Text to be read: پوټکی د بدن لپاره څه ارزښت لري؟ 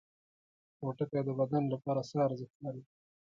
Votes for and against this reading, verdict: 1, 2, rejected